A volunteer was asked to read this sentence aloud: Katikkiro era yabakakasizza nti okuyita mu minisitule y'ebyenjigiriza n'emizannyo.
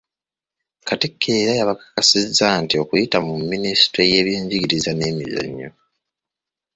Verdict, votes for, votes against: rejected, 1, 2